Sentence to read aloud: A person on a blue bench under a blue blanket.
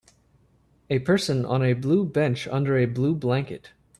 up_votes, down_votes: 3, 0